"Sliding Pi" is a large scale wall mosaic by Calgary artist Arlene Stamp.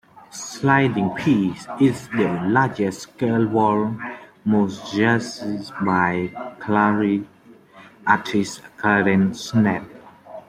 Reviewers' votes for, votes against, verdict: 1, 2, rejected